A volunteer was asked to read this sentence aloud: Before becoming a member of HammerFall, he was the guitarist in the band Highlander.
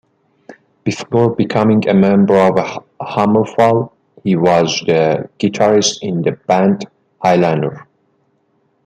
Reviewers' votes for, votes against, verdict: 2, 0, accepted